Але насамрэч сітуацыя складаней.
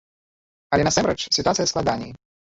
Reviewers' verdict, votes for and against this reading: rejected, 0, 2